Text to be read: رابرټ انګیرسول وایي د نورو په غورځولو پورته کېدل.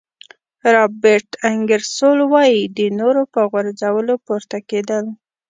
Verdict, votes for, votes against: accepted, 3, 0